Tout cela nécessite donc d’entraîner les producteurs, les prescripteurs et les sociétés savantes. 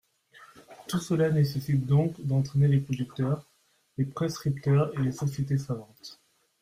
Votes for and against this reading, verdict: 2, 1, accepted